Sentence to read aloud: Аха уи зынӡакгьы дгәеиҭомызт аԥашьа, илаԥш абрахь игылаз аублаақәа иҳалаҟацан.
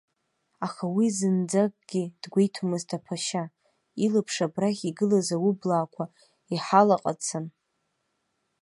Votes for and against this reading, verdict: 2, 0, accepted